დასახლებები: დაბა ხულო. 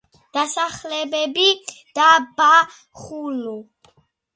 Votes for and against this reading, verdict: 2, 0, accepted